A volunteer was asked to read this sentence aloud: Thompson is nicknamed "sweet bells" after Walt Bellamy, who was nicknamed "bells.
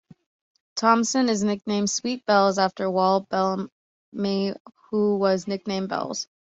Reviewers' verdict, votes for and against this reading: accepted, 2, 1